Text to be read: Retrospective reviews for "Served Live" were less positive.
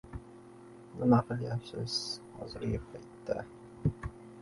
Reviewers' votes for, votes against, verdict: 0, 2, rejected